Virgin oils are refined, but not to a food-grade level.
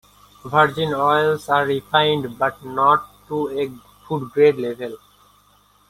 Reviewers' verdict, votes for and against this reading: accepted, 2, 0